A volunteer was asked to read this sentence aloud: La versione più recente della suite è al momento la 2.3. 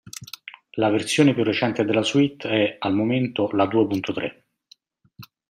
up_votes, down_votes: 0, 2